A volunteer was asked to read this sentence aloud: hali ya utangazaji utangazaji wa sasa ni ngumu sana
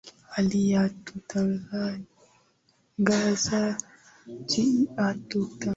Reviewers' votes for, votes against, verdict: 0, 2, rejected